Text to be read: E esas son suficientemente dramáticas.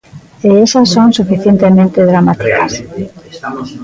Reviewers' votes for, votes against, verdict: 0, 2, rejected